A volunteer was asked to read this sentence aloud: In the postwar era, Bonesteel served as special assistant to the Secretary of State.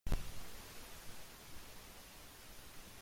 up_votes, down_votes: 0, 2